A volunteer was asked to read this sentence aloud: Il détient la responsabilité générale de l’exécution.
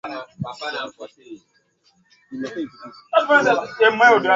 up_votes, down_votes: 0, 2